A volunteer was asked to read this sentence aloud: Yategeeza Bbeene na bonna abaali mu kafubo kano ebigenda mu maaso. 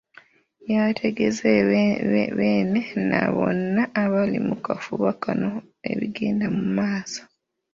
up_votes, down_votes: 0, 2